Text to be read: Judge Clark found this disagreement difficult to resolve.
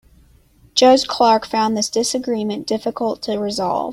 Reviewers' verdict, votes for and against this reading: accepted, 2, 0